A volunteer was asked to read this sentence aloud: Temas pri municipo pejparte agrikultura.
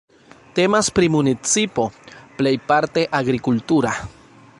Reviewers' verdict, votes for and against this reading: rejected, 1, 2